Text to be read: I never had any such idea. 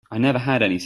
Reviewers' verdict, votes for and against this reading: rejected, 0, 2